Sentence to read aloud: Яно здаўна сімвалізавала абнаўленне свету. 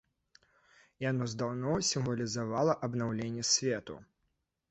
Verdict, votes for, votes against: rejected, 1, 2